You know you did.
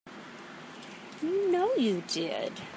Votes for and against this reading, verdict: 2, 1, accepted